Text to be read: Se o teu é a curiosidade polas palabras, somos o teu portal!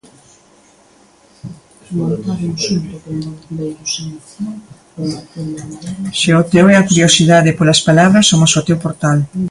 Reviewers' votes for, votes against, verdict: 0, 2, rejected